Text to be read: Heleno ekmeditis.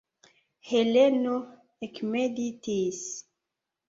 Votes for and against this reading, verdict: 2, 0, accepted